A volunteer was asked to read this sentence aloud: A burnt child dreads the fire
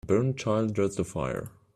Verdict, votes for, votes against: rejected, 0, 2